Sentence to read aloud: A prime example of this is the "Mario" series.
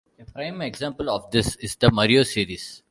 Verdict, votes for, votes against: accepted, 2, 0